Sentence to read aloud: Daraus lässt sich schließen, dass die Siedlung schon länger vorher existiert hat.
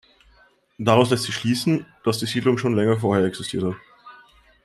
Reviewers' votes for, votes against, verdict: 2, 0, accepted